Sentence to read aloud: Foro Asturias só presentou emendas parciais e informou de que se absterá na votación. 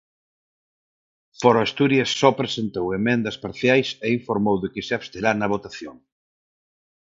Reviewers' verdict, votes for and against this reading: accepted, 4, 0